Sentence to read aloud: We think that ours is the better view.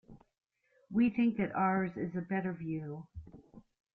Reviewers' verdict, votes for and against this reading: accepted, 2, 1